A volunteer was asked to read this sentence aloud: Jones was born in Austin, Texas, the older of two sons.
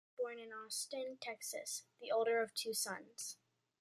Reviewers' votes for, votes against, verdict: 1, 2, rejected